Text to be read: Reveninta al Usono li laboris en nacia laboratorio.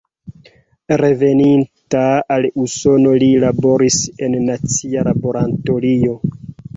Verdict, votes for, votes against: rejected, 1, 2